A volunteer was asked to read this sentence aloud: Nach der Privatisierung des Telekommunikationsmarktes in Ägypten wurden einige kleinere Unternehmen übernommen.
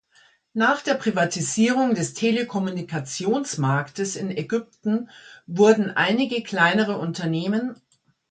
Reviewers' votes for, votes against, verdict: 0, 2, rejected